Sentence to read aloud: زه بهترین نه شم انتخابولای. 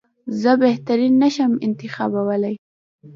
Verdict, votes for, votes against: accepted, 2, 1